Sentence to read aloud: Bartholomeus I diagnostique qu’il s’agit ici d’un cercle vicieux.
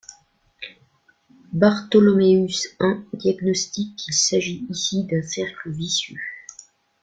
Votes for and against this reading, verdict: 0, 2, rejected